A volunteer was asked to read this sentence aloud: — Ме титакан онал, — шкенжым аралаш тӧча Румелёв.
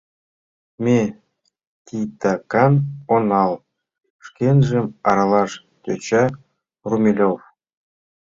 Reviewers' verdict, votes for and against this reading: accepted, 2, 0